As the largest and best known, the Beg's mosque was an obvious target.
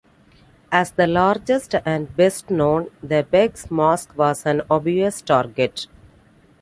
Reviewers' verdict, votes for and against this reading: accepted, 2, 0